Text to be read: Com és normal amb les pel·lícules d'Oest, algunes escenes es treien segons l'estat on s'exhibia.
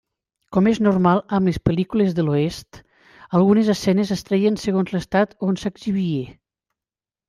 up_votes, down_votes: 2, 0